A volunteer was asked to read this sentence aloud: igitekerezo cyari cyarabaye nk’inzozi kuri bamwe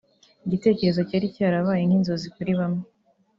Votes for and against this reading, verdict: 1, 2, rejected